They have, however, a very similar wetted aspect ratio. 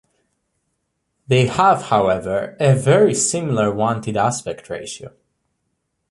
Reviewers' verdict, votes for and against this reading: rejected, 1, 2